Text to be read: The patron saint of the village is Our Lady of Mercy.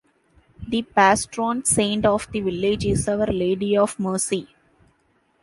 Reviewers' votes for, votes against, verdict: 0, 2, rejected